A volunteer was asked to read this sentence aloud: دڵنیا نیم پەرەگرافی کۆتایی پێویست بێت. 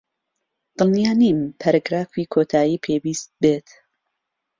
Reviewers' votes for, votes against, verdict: 2, 0, accepted